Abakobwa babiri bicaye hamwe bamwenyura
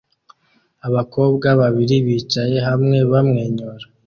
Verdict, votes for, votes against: accepted, 2, 0